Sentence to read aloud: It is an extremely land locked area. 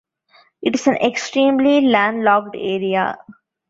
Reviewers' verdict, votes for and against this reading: rejected, 0, 2